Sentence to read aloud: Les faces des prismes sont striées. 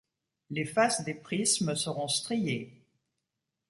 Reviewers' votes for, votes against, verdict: 0, 2, rejected